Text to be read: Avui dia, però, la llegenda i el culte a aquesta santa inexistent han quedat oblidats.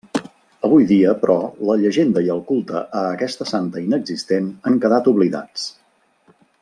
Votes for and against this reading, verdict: 3, 0, accepted